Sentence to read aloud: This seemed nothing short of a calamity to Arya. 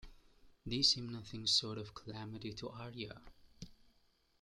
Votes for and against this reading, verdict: 0, 2, rejected